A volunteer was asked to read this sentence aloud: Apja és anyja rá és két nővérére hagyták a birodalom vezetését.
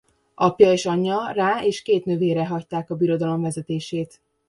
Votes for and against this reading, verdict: 0, 2, rejected